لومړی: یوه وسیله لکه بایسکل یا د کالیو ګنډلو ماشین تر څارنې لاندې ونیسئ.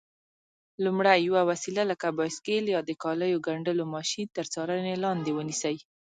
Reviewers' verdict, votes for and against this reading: rejected, 2, 3